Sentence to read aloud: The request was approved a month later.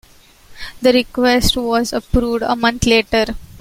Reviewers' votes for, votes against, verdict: 2, 1, accepted